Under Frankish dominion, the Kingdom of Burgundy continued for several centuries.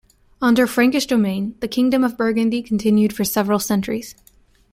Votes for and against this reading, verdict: 1, 2, rejected